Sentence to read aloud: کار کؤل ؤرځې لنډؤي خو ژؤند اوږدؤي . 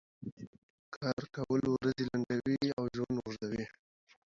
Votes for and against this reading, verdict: 1, 2, rejected